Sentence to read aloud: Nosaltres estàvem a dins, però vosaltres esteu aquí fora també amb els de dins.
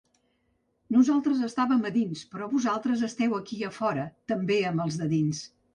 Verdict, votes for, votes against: rejected, 1, 2